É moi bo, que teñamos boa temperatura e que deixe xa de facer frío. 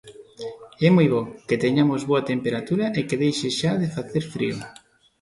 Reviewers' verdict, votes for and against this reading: accepted, 2, 1